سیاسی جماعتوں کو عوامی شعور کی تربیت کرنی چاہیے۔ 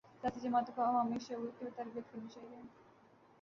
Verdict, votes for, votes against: rejected, 3, 3